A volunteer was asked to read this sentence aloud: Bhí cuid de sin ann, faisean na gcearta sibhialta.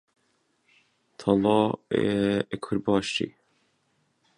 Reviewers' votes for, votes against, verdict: 0, 2, rejected